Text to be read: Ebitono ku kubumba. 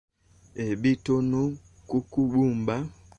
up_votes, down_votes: 1, 2